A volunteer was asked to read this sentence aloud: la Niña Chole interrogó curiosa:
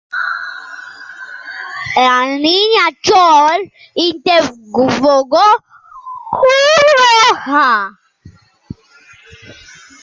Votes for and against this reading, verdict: 0, 2, rejected